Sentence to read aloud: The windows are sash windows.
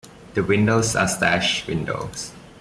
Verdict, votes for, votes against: accepted, 2, 1